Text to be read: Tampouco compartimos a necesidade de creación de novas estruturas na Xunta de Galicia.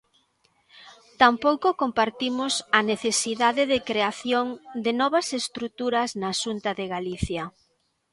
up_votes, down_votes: 2, 0